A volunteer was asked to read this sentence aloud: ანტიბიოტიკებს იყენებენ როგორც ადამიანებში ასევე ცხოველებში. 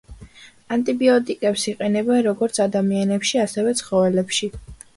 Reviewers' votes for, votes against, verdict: 2, 0, accepted